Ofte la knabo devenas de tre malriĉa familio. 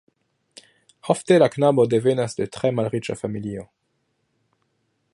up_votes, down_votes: 2, 0